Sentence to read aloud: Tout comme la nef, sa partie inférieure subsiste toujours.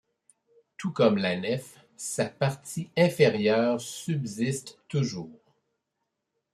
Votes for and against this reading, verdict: 2, 0, accepted